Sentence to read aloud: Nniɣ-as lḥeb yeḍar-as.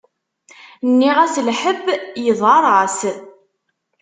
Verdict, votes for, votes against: accepted, 2, 0